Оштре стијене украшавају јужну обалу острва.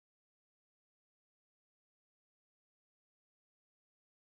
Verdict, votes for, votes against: rejected, 0, 2